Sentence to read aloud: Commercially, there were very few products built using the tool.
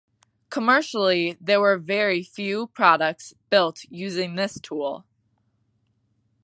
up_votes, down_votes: 0, 2